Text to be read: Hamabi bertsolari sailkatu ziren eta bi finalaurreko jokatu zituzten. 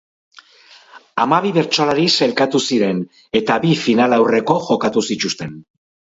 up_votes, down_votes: 0, 4